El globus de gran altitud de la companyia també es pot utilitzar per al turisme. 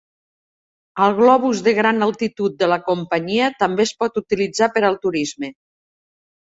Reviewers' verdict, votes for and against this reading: accepted, 2, 0